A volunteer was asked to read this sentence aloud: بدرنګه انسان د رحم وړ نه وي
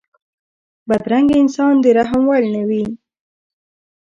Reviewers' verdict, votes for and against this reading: rejected, 0, 2